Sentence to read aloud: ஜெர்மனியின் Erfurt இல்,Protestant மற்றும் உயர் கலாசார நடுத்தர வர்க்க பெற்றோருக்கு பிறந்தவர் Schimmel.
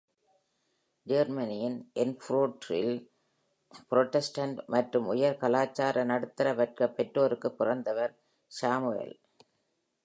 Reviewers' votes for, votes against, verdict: 1, 2, rejected